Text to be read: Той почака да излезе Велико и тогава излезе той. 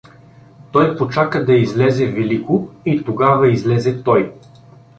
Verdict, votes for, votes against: accepted, 2, 1